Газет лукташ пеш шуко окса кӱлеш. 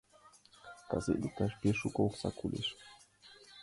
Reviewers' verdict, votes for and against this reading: rejected, 1, 4